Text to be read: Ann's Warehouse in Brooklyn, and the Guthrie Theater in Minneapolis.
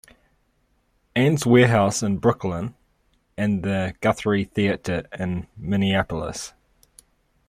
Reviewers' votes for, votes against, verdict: 2, 0, accepted